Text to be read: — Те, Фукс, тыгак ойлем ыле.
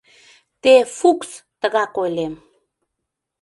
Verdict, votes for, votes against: rejected, 0, 2